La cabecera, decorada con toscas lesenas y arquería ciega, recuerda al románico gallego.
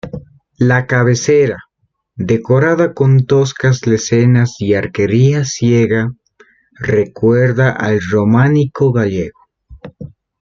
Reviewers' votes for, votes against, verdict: 1, 2, rejected